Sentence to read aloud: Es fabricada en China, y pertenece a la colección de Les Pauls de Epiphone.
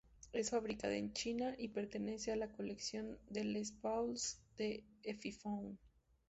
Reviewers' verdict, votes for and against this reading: accepted, 2, 0